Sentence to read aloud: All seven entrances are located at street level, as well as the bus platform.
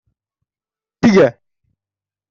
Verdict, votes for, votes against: rejected, 0, 2